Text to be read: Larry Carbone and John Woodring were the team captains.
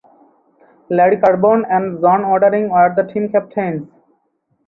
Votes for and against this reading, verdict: 0, 4, rejected